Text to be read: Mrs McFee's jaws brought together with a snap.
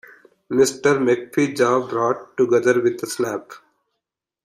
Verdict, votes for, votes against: rejected, 0, 2